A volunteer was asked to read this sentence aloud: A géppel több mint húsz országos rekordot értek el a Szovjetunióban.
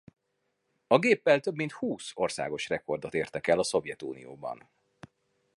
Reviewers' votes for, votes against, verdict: 2, 0, accepted